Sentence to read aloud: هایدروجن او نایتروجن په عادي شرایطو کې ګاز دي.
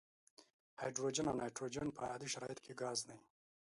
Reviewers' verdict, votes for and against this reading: accepted, 2, 0